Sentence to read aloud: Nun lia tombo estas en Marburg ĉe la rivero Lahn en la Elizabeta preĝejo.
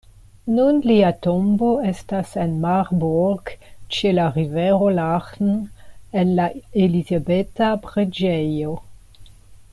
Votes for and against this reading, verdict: 0, 2, rejected